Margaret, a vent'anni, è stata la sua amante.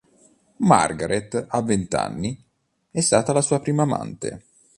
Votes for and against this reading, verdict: 1, 2, rejected